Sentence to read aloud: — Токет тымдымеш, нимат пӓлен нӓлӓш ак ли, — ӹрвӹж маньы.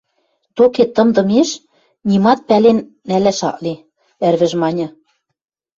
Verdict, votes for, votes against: rejected, 0, 2